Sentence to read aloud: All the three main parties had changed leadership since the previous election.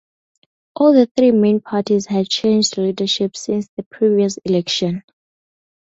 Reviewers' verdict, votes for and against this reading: accepted, 4, 0